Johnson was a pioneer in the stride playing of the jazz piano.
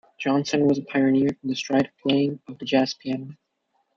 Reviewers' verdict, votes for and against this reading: accepted, 2, 1